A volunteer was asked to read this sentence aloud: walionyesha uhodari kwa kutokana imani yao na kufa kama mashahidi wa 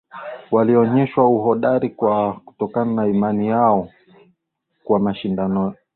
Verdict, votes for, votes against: rejected, 2, 3